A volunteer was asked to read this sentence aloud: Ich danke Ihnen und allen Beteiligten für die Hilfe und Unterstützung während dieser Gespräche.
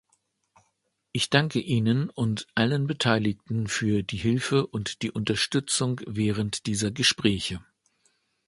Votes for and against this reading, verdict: 0, 2, rejected